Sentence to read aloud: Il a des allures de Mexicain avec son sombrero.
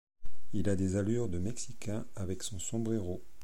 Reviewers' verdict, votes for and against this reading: accepted, 2, 0